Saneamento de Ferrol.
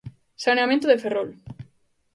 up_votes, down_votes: 2, 0